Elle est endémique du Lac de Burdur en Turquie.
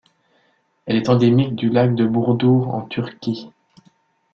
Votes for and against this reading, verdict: 2, 0, accepted